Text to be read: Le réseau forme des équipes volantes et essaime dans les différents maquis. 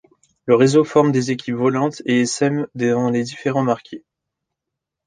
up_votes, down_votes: 2, 1